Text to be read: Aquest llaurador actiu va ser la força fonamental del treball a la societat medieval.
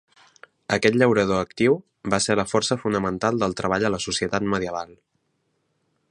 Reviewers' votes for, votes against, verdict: 3, 0, accepted